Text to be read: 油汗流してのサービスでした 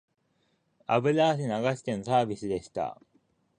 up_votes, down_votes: 2, 1